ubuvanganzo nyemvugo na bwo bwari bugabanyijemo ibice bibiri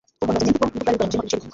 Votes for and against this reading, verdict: 1, 2, rejected